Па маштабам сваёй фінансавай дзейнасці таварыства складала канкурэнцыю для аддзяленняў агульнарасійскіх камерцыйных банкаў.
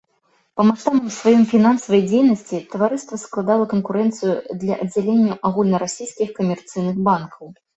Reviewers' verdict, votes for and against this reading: rejected, 1, 2